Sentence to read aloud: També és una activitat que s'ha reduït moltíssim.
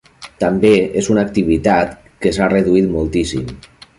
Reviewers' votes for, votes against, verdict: 3, 0, accepted